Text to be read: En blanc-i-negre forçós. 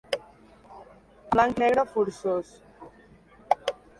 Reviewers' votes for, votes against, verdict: 1, 3, rejected